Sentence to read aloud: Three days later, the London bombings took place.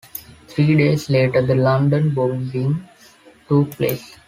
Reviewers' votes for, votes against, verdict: 0, 2, rejected